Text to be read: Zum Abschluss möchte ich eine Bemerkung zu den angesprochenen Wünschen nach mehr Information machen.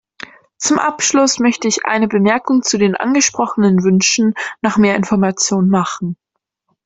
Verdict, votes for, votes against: accepted, 2, 0